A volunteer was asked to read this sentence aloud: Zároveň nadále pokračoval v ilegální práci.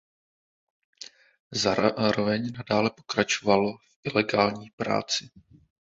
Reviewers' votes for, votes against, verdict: 0, 2, rejected